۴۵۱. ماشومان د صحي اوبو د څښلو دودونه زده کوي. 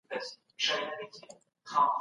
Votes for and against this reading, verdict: 0, 2, rejected